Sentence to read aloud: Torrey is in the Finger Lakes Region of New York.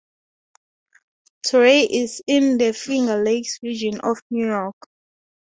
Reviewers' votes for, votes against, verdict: 0, 2, rejected